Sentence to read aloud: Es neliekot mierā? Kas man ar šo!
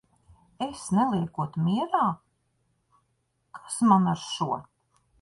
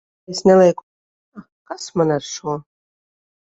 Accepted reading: first